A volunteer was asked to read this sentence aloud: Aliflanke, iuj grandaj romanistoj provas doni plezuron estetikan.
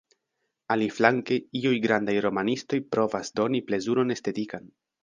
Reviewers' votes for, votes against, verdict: 1, 2, rejected